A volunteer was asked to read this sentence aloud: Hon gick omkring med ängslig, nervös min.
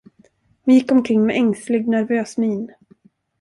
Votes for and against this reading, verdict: 1, 2, rejected